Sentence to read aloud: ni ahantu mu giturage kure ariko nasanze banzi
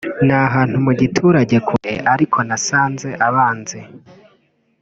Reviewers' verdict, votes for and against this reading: rejected, 0, 3